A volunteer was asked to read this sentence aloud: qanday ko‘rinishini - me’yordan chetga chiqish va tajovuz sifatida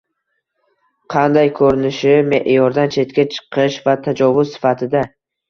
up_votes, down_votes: 1, 2